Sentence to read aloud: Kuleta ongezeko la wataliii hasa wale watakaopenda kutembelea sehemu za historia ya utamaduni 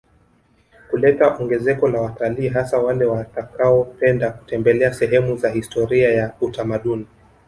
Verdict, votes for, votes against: accepted, 3, 0